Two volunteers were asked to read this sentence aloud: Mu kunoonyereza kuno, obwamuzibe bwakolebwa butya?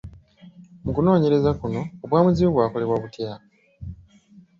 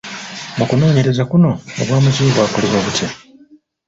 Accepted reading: first